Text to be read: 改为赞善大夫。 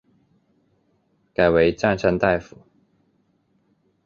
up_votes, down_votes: 2, 0